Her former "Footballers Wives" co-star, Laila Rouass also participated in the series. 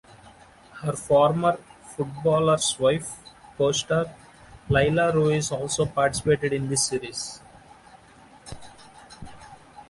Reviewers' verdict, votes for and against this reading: rejected, 1, 2